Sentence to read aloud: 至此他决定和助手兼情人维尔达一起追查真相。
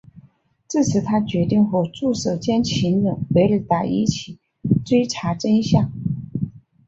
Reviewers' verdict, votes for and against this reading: accepted, 3, 0